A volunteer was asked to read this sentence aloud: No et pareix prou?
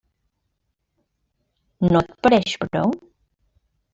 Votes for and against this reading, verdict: 0, 2, rejected